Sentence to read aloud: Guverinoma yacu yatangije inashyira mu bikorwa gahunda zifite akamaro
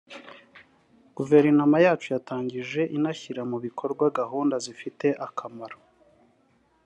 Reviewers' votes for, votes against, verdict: 2, 1, accepted